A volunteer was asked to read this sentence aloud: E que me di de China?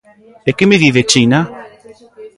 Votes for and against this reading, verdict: 0, 2, rejected